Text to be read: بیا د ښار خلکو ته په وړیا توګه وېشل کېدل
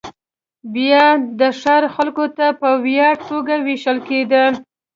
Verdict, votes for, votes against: accepted, 2, 0